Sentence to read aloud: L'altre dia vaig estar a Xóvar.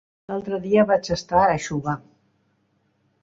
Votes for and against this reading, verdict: 0, 2, rejected